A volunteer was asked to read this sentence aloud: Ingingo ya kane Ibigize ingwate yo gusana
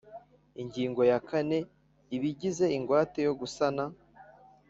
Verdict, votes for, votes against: accepted, 2, 0